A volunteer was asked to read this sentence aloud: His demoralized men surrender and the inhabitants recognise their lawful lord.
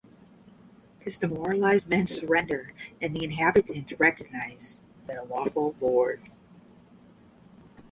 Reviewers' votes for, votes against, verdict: 10, 5, accepted